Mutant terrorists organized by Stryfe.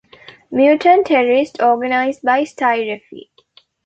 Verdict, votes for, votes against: rejected, 1, 2